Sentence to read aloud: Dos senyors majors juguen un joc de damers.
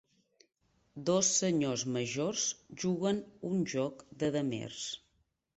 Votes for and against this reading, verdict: 3, 1, accepted